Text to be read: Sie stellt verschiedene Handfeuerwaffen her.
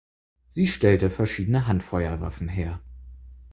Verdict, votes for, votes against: rejected, 0, 4